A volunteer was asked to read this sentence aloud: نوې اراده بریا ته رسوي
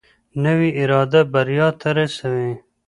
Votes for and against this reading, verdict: 2, 0, accepted